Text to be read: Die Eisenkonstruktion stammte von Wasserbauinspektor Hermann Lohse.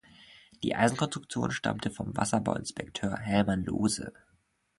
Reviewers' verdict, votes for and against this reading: rejected, 0, 2